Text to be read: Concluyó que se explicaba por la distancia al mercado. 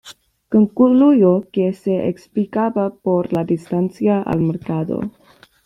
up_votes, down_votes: 0, 2